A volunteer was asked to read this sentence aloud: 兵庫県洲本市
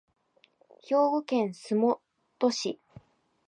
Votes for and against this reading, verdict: 0, 2, rejected